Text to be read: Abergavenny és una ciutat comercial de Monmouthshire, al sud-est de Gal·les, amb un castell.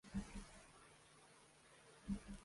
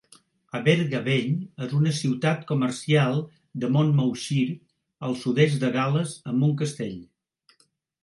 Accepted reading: second